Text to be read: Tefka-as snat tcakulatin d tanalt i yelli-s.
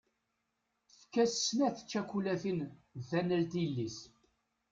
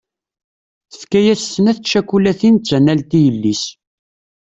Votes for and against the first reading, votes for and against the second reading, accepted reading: 1, 2, 2, 0, second